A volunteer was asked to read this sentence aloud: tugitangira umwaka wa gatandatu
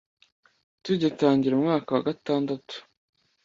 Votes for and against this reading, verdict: 2, 0, accepted